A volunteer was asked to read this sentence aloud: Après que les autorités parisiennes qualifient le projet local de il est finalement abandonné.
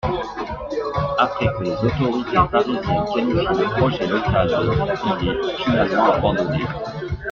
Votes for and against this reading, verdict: 0, 2, rejected